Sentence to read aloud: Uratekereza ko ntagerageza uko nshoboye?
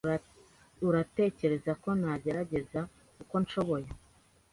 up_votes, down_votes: 2, 0